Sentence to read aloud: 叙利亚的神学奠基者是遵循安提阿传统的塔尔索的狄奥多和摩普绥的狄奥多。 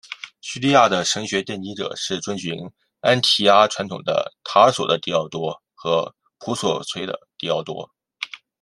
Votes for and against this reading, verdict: 2, 0, accepted